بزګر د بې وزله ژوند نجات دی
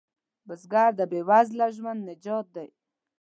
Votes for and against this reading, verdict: 2, 0, accepted